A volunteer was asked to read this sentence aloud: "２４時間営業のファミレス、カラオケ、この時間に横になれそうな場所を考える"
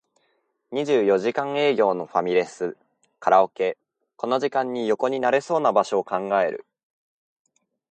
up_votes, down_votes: 0, 2